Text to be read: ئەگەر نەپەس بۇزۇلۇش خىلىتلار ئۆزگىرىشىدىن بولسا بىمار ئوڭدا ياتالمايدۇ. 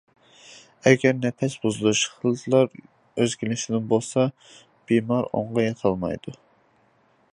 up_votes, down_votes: 0, 2